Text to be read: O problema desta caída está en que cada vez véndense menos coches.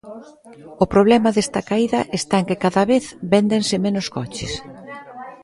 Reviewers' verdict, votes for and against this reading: accepted, 2, 0